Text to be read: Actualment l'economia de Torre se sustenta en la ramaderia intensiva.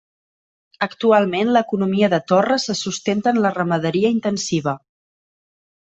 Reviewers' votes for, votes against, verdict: 3, 0, accepted